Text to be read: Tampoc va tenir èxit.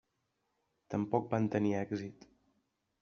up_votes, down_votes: 0, 2